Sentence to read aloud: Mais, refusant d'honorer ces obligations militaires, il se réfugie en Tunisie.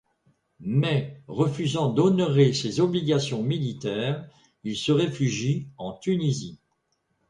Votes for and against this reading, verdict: 2, 0, accepted